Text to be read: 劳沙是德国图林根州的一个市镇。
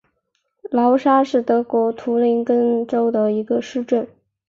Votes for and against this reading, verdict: 4, 0, accepted